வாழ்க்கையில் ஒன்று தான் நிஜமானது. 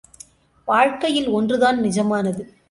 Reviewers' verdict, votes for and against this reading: accepted, 2, 0